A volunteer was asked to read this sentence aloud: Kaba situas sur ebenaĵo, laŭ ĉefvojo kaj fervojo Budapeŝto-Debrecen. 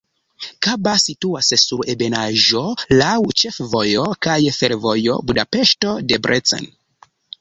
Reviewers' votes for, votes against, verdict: 1, 2, rejected